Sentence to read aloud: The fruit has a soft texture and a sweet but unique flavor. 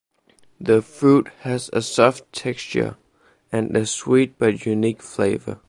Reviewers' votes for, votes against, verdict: 2, 0, accepted